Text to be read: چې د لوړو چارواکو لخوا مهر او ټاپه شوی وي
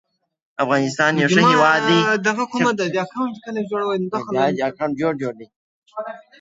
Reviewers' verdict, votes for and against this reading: rejected, 1, 2